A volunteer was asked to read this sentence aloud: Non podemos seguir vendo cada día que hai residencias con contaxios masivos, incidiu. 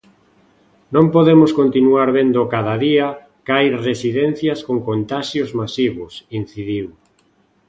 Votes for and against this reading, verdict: 0, 2, rejected